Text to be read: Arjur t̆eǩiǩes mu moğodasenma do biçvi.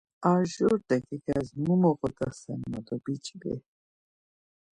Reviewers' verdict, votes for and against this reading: accepted, 2, 0